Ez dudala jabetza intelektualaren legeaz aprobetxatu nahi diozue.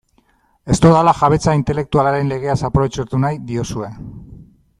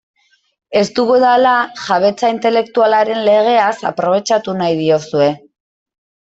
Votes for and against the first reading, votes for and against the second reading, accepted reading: 2, 1, 0, 2, first